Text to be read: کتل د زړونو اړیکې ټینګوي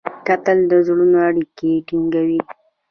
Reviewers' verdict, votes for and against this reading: rejected, 1, 2